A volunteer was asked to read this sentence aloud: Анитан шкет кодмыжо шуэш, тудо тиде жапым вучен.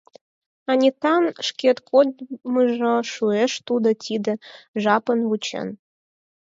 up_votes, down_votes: 2, 10